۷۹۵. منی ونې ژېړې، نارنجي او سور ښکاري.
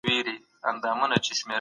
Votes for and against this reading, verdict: 0, 2, rejected